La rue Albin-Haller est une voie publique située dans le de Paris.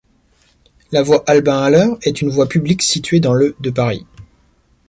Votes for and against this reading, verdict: 1, 2, rejected